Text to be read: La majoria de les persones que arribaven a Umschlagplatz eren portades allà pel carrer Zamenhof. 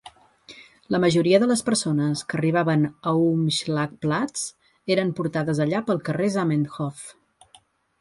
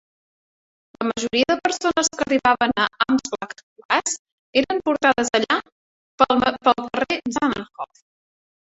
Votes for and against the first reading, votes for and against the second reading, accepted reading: 2, 0, 1, 3, first